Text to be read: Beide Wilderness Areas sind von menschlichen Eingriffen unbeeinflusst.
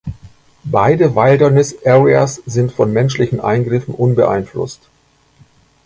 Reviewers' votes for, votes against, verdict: 2, 0, accepted